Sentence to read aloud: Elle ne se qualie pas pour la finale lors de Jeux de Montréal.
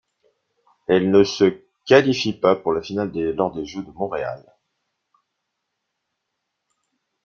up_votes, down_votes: 0, 2